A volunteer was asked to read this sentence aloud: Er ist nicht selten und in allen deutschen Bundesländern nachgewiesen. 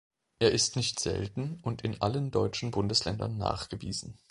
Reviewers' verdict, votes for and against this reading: accepted, 2, 0